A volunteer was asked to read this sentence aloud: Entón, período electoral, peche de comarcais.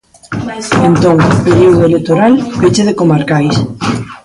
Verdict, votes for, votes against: rejected, 0, 2